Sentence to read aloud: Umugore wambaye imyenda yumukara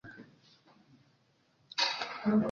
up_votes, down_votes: 0, 2